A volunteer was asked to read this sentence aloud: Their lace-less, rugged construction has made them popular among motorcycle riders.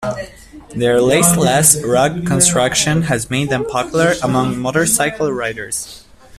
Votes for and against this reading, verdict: 0, 2, rejected